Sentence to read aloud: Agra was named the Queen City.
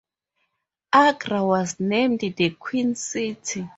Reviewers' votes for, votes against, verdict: 2, 0, accepted